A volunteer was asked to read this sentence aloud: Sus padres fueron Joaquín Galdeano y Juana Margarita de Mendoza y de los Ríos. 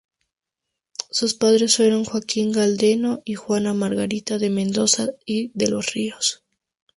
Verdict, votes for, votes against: accepted, 2, 0